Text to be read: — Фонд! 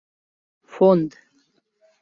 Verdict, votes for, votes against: accepted, 2, 0